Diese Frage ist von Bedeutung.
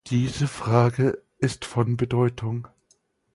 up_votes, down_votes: 4, 0